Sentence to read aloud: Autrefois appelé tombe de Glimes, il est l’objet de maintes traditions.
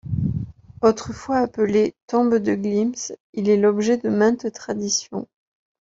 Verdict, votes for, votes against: rejected, 1, 2